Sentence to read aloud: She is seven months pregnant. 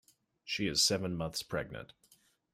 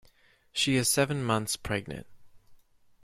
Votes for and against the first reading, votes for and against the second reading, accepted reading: 2, 0, 0, 2, first